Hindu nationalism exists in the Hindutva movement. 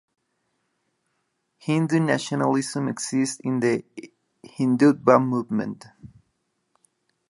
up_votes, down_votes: 0, 2